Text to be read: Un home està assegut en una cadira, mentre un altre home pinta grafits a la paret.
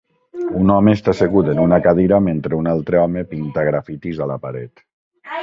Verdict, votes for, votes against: rejected, 0, 2